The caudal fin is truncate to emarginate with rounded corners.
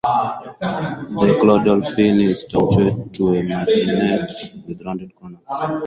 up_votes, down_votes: 0, 4